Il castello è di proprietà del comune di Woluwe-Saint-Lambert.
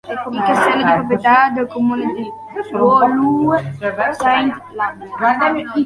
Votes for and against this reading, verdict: 0, 2, rejected